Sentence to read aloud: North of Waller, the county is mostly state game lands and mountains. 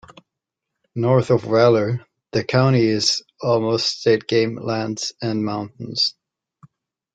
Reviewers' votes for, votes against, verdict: 0, 2, rejected